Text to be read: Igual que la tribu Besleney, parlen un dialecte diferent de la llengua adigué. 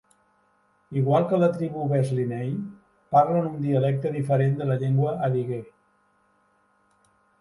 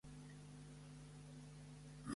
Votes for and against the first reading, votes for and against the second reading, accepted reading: 2, 1, 0, 2, first